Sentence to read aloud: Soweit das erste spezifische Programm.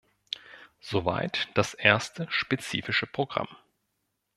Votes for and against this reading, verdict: 2, 0, accepted